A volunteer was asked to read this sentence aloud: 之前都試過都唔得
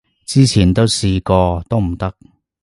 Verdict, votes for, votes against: accepted, 2, 0